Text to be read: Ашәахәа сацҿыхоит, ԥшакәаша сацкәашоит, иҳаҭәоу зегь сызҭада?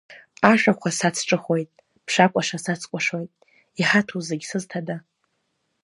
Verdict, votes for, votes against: rejected, 0, 2